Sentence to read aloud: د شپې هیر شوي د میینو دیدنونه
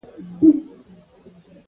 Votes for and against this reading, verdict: 0, 2, rejected